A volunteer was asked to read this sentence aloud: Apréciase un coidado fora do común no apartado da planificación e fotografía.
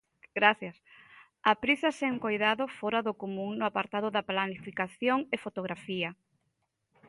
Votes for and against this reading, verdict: 0, 2, rejected